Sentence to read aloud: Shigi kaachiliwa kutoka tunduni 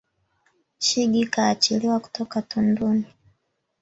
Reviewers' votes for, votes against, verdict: 5, 1, accepted